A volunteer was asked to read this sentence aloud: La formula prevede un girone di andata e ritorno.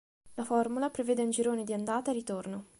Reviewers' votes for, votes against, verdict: 3, 0, accepted